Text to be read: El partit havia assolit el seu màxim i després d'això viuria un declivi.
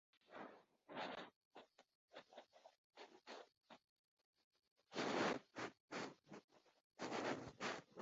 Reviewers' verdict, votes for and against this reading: rejected, 0, 2